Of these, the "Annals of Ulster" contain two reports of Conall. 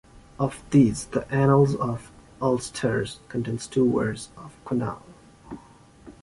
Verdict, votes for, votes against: accepted, 2, 1